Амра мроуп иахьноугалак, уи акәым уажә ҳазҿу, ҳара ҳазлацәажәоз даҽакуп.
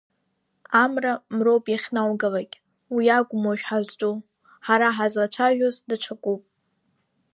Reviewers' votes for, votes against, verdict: 1, 2, rejected